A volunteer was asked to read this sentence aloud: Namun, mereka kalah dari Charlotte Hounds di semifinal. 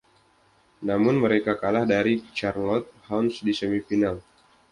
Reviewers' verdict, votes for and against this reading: accepted, 2, 0